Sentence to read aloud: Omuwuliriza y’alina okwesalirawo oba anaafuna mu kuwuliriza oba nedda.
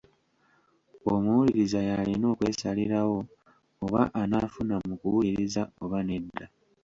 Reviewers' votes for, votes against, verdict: 1, 2, rejected